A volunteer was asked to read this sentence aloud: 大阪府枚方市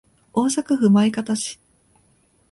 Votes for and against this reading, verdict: 2, 1, accepted